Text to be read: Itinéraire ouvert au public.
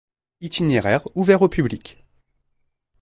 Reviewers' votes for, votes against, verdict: 2, 0, accepted